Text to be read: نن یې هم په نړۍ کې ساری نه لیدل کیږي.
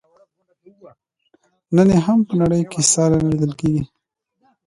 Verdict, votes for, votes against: accepted, 2, 0